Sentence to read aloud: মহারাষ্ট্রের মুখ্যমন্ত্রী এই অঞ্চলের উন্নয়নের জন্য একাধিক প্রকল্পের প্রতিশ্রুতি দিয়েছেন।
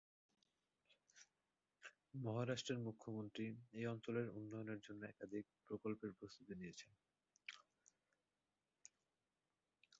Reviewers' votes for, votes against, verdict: 0, 2, rejected